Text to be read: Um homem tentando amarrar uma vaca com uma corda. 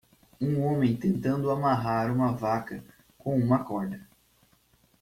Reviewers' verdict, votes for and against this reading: accepted, 2, 0